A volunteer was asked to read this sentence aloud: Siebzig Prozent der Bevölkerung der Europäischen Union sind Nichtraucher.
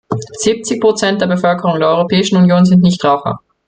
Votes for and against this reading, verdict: 2, 0, accepted